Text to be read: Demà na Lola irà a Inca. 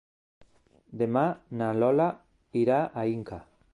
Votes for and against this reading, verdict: 3, 0, accepted